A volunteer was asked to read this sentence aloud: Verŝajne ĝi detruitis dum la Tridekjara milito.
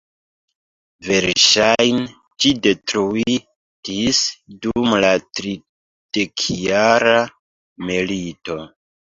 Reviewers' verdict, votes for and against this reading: rejected, 1, 2